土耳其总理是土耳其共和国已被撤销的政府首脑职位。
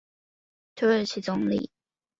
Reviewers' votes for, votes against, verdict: 1, 2, rejected